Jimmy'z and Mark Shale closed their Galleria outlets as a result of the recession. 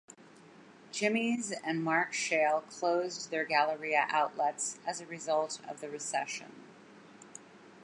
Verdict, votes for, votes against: accepted, 2, 0